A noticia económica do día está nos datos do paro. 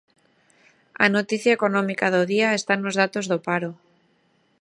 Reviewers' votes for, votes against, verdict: 2, 0, accepted